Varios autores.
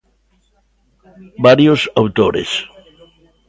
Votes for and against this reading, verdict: 2, 1, accepted